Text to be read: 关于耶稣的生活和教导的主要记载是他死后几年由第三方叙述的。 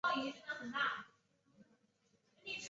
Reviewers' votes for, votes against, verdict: 0, 4, rejected